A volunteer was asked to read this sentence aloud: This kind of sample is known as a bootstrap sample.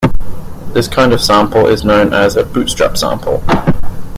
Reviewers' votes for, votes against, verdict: 2, 0, accepted